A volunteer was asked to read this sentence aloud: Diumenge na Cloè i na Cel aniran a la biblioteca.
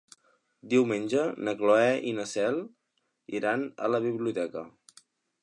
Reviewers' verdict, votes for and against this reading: rejected, 3, 4